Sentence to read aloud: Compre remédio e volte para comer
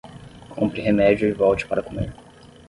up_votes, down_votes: 6, 3